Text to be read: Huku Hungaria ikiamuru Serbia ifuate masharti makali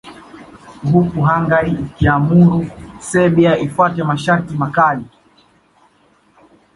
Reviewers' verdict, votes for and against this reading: accepted, 2, 0